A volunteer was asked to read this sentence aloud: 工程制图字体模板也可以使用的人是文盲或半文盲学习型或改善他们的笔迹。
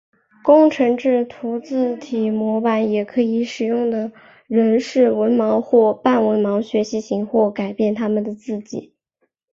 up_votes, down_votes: 4, 1